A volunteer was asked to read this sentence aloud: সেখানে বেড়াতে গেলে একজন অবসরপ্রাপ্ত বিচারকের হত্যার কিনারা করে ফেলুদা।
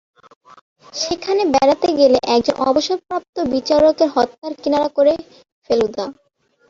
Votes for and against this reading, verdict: 4, 7, rejected